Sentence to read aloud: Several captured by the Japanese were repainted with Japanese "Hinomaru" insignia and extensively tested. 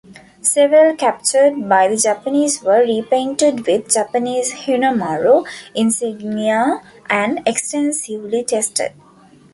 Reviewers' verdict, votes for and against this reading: accepted, 2, 1